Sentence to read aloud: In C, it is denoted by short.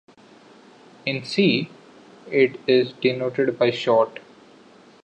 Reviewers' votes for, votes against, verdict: 2, 0, accepted